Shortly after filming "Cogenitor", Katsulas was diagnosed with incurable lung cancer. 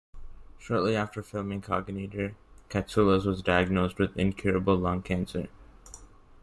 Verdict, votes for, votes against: rejected, 0, 2